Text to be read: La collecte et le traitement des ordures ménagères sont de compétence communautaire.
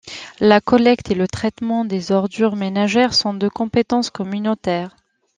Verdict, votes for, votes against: accepted, 2, 0